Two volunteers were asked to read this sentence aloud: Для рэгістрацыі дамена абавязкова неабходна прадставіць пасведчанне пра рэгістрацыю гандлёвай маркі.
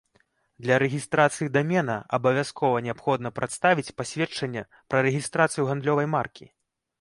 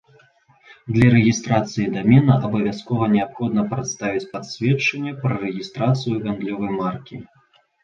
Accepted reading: first